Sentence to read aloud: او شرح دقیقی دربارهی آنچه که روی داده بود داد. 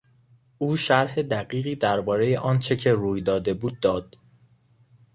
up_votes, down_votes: 2, 0